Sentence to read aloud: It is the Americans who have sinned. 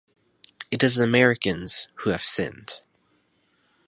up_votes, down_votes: 4, 0